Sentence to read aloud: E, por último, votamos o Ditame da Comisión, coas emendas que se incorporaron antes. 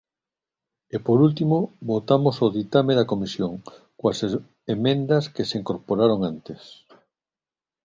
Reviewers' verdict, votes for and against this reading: rejected, 1, 2